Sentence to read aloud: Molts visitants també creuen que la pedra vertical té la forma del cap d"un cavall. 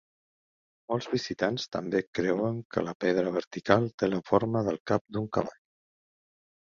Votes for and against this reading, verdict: 2, 0, accepted